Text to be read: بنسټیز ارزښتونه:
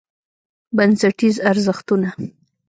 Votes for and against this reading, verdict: 1, 2, rejected